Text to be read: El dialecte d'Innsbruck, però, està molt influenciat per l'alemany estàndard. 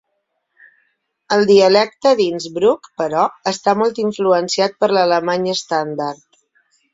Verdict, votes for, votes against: accepted, 9, 0